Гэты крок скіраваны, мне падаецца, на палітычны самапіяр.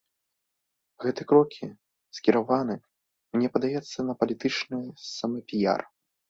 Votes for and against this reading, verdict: 1, 2, rejected